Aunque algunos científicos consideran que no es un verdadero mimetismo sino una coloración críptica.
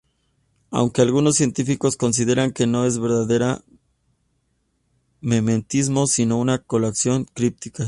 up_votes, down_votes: 0, 2